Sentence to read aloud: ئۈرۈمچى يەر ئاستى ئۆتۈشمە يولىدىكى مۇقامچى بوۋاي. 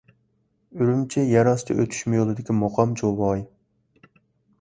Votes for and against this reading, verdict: 1, 2, rejected